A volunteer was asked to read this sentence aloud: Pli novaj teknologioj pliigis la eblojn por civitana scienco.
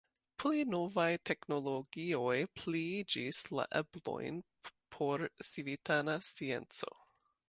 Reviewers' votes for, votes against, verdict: 0, 3, rejected